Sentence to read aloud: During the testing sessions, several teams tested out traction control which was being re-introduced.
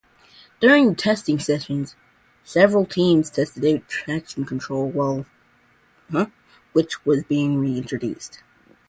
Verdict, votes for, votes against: rejected, 0, 2